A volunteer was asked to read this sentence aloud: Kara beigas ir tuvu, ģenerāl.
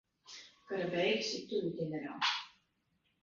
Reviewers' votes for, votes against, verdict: 0, 2, rejected